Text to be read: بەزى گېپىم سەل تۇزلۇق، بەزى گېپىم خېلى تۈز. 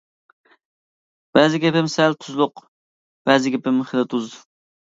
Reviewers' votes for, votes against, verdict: 0, 2, rejected